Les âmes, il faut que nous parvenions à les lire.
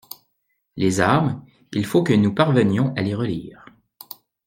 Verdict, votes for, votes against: rejected, 0, 2